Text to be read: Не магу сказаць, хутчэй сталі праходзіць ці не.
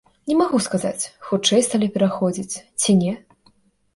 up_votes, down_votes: 1, 2